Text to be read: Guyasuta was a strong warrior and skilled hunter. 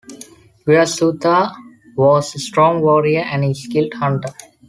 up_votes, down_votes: 0, 2